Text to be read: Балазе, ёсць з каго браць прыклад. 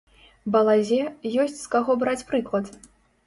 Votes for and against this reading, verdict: 2, 0, accepted